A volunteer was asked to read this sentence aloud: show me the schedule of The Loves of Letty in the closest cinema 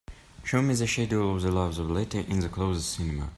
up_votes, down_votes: 2, 0